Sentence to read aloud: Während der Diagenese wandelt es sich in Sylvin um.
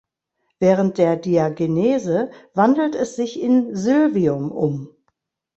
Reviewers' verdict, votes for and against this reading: rejected, 0, 2